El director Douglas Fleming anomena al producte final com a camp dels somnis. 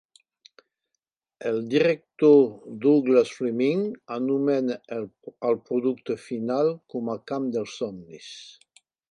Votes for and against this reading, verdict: 2, 4, rejected